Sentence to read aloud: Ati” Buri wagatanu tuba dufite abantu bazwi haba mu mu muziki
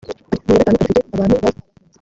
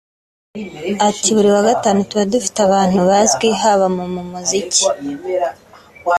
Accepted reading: second